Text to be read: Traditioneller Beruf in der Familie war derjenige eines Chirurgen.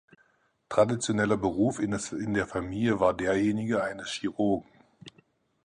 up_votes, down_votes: 0, 4